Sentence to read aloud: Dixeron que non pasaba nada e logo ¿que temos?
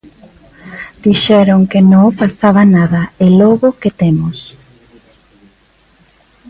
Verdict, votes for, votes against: rejected, 1, 2